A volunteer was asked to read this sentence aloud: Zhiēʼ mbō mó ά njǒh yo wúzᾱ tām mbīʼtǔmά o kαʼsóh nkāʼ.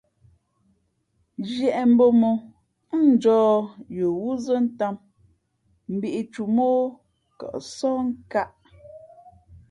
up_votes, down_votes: 2, 0